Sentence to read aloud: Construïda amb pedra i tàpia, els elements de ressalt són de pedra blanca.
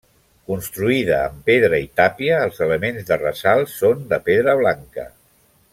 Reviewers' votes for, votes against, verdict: 3, 1, accepted